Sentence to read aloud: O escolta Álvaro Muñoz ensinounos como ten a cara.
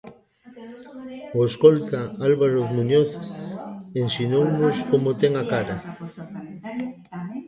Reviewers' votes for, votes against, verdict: 0, 2, rejected